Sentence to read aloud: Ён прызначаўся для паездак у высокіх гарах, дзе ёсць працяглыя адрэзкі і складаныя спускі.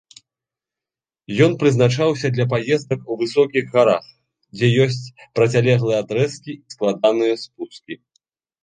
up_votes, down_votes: 1, 2